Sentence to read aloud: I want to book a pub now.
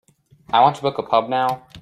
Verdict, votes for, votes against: accepted, 2, 0